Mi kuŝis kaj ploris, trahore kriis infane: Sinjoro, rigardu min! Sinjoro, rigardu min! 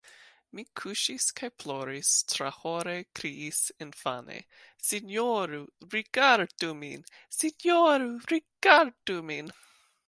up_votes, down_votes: 2, 3